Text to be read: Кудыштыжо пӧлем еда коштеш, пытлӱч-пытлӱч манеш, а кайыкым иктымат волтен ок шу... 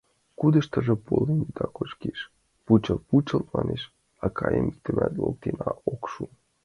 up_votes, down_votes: 0, 2